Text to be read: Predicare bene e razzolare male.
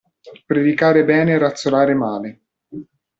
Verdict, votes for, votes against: accepted, 2, 0